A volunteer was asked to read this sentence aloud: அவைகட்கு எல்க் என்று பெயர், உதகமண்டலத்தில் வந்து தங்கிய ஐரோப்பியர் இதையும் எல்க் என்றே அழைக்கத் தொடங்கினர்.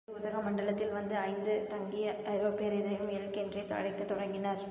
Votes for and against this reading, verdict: 1, 2, rejected